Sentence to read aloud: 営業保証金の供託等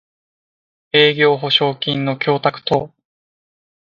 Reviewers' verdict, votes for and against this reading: accepted, 2, 1